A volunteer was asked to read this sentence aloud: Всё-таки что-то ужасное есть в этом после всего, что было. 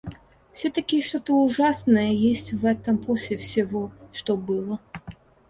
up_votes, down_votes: 2, 0